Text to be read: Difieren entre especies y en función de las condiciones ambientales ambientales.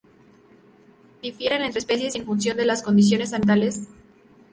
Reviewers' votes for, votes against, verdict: 0, 2, rejected